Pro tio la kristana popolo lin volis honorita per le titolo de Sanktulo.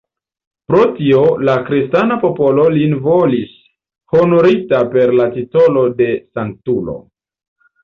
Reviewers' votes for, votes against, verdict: 2, 0, accepted